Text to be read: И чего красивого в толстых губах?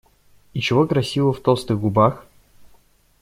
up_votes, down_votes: 2, 0